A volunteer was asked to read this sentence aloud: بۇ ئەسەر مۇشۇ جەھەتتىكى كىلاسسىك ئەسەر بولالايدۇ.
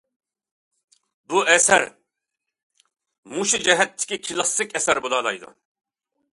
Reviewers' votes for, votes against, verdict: 2, 0, accepted